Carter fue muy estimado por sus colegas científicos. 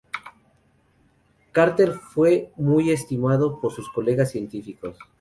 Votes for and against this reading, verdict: 0, 2, rejected